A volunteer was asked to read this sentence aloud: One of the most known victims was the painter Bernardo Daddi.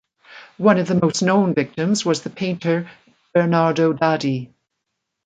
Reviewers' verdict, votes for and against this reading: accepted, 2, 0